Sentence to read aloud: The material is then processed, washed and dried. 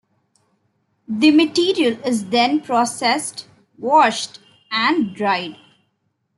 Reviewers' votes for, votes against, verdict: 2, 0, accepted